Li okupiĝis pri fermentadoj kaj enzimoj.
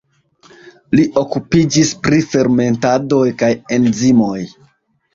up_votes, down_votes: 2, 0